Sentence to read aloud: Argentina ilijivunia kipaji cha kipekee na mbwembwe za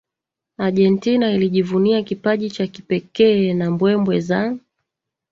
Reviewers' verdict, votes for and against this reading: rejected, 1, 2